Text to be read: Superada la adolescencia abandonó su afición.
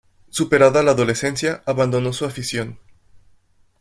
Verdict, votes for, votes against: accepted, 2, 0